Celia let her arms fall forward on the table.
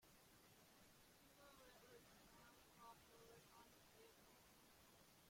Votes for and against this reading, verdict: 0, 2, rejected